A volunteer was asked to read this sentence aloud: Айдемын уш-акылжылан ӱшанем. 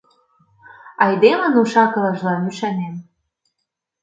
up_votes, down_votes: 1, 2